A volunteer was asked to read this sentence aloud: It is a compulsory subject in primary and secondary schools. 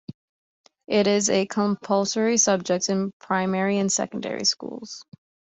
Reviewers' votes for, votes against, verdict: 2, 0, accepted